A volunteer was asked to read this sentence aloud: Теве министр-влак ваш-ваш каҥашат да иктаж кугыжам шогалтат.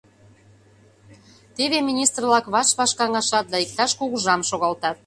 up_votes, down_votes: 2, 0